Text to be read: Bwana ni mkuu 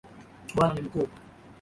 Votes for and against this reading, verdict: 2, 1, accepted